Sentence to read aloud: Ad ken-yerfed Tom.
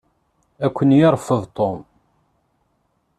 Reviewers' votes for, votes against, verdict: 0, 2, rejected